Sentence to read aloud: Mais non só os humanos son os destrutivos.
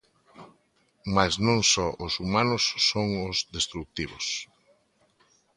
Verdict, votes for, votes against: accepted, 2, 0